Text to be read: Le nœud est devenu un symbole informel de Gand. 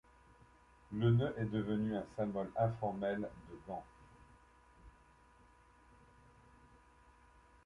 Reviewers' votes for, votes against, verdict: 2, 0, accepted